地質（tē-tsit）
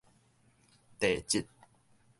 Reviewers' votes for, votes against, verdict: 2, 0, accepted